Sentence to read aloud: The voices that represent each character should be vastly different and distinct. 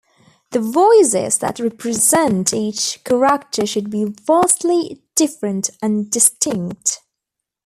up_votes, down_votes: 0, 2